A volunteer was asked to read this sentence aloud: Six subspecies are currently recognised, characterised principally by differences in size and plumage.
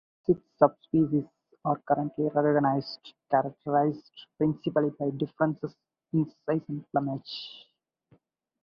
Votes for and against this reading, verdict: 0, 4, rejected